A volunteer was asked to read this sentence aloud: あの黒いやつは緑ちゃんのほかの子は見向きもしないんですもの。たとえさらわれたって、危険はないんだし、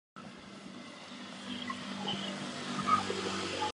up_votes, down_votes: 1, 7